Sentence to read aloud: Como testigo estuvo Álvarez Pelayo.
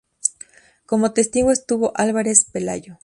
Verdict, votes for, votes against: accepted, 4, 0